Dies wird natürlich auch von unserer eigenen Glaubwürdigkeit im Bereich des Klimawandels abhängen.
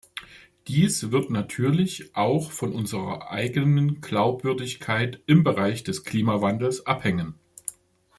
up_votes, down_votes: 2, 0